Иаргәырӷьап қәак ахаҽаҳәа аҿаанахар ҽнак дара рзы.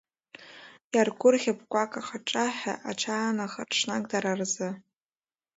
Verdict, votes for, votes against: accepted, 2, 1